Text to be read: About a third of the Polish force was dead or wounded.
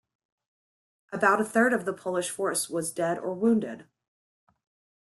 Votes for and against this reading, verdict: 2, 0, accepted